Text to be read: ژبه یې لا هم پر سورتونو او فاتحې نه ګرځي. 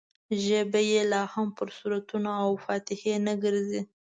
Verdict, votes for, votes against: accepted, 2, 0